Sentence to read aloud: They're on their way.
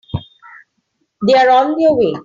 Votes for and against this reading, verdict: 2, 0, accepted